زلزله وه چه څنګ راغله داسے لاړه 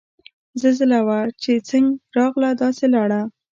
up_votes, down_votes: 2, 0